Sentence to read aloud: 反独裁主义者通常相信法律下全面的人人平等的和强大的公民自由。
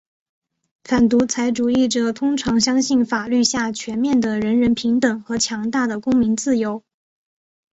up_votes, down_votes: 2, 0